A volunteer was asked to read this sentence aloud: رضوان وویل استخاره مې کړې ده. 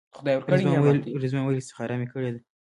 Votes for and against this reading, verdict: 2, 1, accepted